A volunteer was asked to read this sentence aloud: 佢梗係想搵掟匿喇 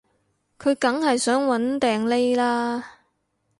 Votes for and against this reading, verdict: 2, 0, accepted